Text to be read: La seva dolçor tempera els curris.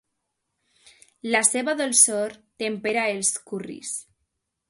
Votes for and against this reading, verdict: 2, 0, accepted